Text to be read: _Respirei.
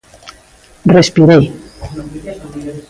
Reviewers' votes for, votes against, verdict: 0, 2, rejected